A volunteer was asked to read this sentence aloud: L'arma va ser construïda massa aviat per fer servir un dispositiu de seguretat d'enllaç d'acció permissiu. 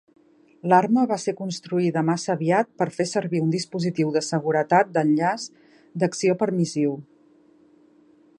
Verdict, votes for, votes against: accepted, 2, 0